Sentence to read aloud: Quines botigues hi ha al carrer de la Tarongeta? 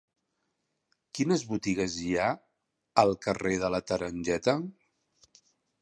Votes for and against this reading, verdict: 1, 2, rejected